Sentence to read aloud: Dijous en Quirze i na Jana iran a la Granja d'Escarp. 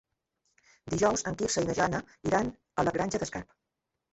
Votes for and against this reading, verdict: 2, 0, accepted